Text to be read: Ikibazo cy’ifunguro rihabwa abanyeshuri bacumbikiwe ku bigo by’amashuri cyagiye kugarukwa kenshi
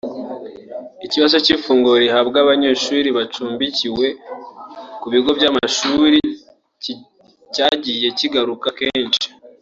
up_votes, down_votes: 0, 2